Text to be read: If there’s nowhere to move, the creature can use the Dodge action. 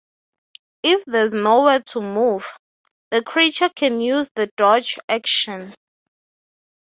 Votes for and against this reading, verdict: 6, 0, accepted